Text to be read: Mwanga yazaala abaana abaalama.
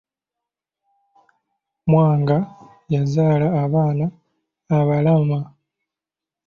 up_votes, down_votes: 2, 0